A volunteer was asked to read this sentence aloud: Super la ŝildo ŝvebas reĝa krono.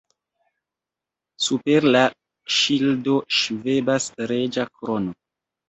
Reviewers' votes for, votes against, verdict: 2, 1, accepted